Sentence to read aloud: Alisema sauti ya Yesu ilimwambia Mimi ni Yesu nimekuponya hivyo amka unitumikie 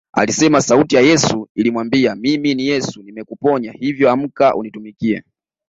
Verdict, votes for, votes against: accepted, 2, 0